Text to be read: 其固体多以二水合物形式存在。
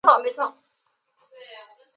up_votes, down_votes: 1, 3